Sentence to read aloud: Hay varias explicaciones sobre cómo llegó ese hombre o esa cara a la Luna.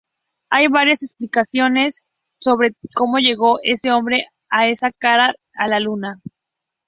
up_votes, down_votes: 4, 0